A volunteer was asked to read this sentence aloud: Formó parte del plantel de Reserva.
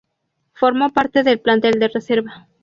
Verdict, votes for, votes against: accepted, 2, 0